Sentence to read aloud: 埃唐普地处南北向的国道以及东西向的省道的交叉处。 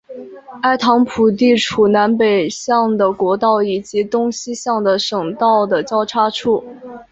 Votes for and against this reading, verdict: 5, 0, accepted